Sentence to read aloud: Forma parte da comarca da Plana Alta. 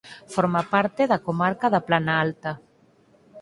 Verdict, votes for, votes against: accepted, 4, 0